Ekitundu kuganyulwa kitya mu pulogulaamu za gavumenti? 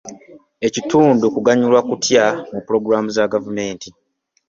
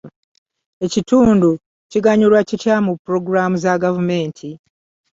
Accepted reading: second